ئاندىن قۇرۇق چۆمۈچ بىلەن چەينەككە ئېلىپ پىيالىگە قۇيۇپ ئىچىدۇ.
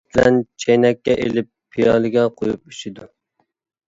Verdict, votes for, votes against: rejected, 0, 2